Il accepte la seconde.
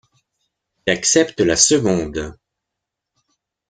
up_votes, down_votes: 0, 3